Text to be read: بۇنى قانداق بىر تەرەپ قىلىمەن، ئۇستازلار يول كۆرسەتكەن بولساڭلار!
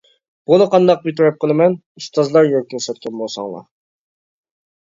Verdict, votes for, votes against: rejected, 1, 2